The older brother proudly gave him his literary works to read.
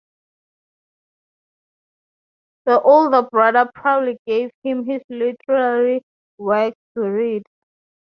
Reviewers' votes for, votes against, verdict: 0, 2, rejected